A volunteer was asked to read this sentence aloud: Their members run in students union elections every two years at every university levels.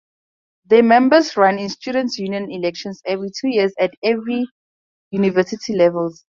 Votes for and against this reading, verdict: 2, 0, accepted